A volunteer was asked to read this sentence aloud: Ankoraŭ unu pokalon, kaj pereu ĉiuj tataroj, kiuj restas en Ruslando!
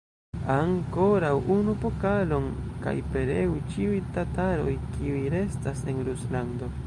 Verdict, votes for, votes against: accepted, 2, 0